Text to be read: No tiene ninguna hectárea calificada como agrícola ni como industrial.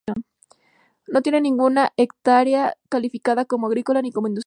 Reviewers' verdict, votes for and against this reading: rejected, 0, 2